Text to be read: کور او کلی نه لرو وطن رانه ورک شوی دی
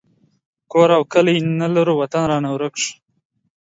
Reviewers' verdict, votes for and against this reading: rejected, 0, 2